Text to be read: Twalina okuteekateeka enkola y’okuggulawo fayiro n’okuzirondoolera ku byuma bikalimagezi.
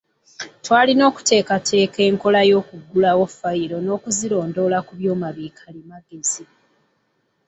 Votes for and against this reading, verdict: 0, 2, rejected